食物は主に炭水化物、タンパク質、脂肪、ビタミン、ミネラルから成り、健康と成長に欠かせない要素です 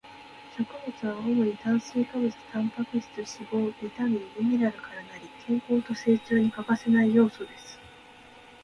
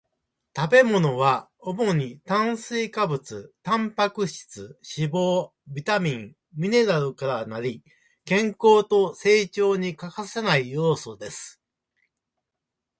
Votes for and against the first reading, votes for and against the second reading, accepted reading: 2, 0, 1, 2, first